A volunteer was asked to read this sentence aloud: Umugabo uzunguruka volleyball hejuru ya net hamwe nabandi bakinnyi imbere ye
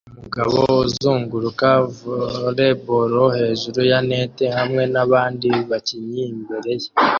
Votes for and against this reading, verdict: 0, 2, rejected